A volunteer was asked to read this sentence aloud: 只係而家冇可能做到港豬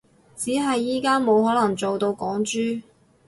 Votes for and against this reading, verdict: 2, 2, rejected